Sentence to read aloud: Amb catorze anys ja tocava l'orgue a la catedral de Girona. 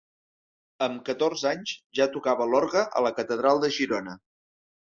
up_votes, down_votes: 3, 0